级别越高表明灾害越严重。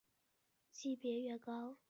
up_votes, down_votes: 0, 2